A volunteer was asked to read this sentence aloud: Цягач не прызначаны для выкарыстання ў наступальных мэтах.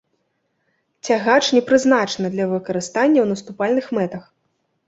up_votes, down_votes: 2, 0